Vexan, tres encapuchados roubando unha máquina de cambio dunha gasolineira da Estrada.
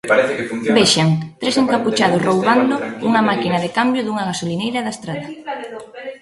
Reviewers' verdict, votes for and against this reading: rejected, 1, 2